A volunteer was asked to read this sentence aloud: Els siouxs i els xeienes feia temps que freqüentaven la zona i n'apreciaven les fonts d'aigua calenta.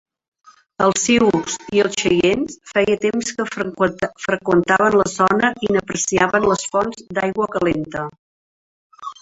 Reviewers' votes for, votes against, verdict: 0, 2, rejected